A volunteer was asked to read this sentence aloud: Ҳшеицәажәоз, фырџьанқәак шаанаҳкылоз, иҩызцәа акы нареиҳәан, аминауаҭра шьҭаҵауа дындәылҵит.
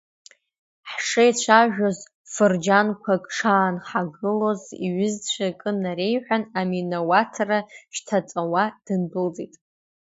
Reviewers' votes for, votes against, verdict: 1, 2, rejected